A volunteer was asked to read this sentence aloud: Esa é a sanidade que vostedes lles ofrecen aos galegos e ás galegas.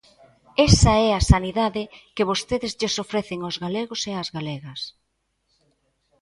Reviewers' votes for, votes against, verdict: 2, 0, accepted